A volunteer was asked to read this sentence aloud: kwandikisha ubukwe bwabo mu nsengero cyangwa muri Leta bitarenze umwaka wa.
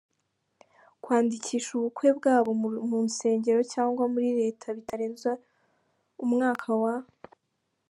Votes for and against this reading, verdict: 1, 2, rejected